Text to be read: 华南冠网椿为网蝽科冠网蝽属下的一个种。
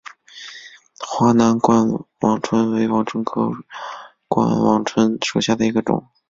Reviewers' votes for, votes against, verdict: 3, 1, accepted